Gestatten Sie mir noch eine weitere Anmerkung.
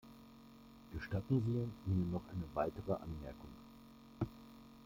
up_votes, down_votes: 2, 0